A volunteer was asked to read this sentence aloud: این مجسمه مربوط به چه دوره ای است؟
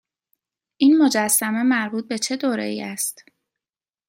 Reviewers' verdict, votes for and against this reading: accepted, 2, 0